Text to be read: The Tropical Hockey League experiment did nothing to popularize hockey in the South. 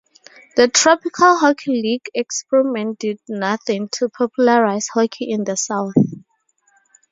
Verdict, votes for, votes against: accepted, 4, 0